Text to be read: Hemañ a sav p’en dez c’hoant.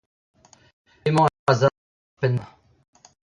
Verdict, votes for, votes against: rejected, 0, 2